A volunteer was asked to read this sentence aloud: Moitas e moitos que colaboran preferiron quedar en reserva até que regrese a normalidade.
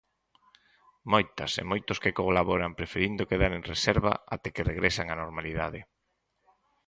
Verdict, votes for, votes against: rejected, 0, 4